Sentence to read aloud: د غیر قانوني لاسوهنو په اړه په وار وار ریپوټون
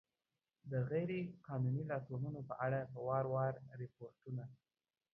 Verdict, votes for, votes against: rejected, 1, 2